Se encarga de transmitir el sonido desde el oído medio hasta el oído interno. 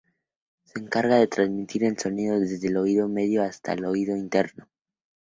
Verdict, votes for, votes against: accepted, 2, 0